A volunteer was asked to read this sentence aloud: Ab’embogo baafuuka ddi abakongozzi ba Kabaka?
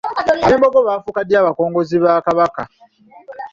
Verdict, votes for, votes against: rejected, 1, 2